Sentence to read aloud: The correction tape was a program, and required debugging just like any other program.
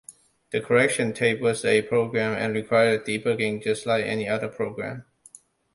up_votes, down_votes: 2, 0